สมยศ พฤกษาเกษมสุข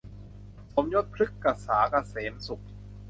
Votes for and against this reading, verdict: 0, 2, rejected